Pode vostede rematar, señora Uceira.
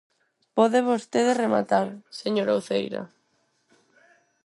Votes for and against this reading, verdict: 4, 0, accepted